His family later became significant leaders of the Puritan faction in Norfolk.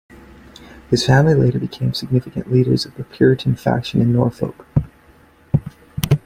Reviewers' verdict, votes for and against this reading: accepted, 2, 1